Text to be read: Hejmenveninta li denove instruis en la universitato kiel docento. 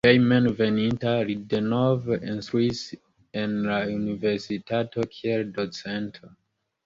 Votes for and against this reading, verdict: 2, 1, accepted